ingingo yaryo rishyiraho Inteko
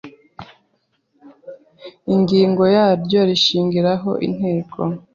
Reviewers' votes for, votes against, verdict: 1, 2, rejected